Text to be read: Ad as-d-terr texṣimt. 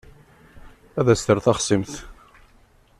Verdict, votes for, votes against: rejected, 1, 2